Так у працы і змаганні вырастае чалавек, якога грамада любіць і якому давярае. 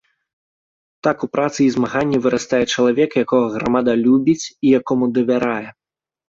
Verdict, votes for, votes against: accepted, 2, 0